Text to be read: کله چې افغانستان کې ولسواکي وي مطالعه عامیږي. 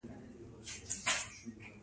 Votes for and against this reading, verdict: 0, 2, rejected